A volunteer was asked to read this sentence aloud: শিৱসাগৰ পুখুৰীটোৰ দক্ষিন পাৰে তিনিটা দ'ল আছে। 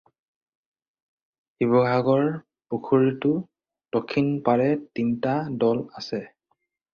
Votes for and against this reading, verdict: 4, 2, accepted